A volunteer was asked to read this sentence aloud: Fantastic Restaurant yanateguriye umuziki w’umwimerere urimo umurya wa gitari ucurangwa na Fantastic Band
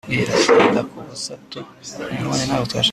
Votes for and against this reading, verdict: 0, 2, rejected